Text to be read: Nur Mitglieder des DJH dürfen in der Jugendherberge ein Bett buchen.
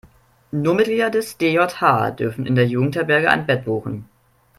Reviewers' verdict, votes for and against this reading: accepted, 2, 0